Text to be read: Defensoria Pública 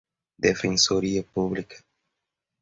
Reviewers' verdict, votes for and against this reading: accepted, 2, 0